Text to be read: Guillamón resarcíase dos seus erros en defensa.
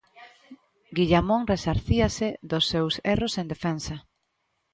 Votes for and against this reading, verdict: 1, 2, rejected